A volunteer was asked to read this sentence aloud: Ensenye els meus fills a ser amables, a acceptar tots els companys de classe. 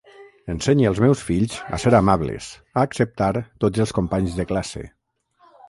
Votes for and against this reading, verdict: 3, 3, rejected